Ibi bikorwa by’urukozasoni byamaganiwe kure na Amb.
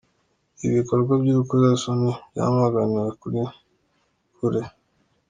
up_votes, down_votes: 0, 2